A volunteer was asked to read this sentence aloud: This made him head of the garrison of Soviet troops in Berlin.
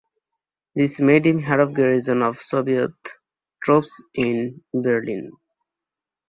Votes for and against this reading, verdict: 0, 2, rejected